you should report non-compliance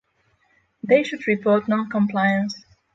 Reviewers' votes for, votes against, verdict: 3, 3, rejected